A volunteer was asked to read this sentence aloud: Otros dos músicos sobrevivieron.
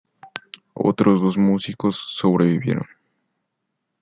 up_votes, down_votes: 2, 1